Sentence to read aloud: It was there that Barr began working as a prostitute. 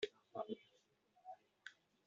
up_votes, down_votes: 0, 2